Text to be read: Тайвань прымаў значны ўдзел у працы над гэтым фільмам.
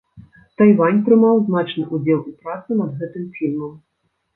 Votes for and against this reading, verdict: 1, 2, rejected